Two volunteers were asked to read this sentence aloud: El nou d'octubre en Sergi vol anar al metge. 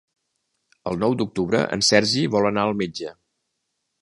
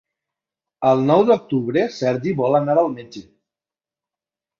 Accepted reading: first